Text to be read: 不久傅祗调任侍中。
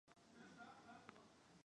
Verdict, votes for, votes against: rejected, 0, 4